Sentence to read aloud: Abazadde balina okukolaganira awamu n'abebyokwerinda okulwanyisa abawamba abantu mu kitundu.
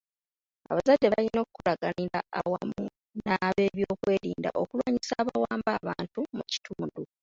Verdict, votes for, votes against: rejected, 1, 2